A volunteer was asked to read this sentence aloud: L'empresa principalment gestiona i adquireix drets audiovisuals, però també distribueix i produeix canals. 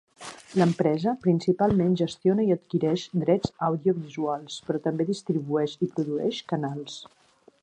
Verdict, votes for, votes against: accepted, 3, 0